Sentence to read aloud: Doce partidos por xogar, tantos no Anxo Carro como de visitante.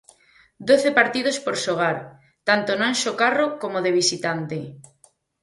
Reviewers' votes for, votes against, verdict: 0, 4, rejected